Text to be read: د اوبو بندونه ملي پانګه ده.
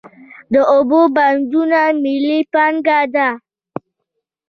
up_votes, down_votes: 0, 2